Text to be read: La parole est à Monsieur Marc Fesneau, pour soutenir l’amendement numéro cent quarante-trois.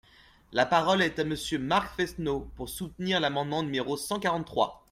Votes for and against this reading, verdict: 2, 0, accepted